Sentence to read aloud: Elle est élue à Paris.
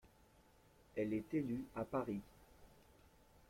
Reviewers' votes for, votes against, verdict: 2, 0, accepted